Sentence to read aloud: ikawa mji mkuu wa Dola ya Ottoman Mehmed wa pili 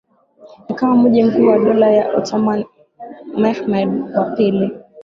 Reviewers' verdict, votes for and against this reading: rejected, 2, 3